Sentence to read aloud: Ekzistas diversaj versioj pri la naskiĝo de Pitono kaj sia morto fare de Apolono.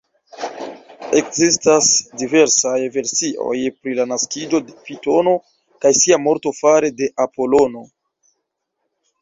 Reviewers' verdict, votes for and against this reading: rejected, 0, 2